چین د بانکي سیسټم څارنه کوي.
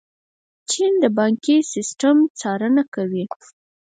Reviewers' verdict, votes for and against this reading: rejected, 2, 4